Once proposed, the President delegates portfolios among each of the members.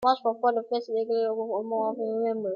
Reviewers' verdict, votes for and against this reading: rejected, 0, 2